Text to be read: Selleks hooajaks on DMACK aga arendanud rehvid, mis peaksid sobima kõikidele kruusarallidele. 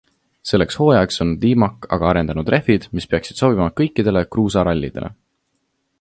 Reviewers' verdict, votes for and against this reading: accepted, 2, 0